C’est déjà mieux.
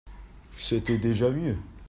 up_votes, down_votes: 0, 2